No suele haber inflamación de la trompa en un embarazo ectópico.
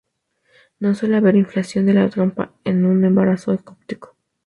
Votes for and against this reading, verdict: 0, 2, rejected